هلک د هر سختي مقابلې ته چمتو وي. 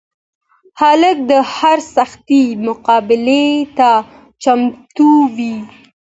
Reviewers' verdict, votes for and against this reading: accepted, 2, 0